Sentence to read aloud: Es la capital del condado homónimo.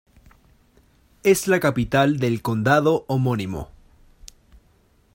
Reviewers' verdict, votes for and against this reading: accepted, 2, 0